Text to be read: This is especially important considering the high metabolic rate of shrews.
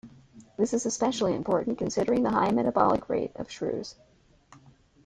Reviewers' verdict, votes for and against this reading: rejected, 1, 2